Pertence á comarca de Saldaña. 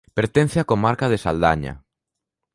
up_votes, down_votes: 2, 0